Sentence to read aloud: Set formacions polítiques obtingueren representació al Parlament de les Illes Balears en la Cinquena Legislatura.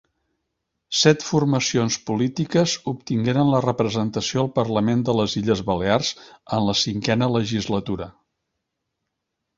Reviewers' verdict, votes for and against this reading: rejected, 1, 2